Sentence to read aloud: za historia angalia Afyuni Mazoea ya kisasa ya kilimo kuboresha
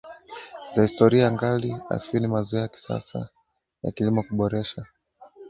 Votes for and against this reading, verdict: 2, 1, accepted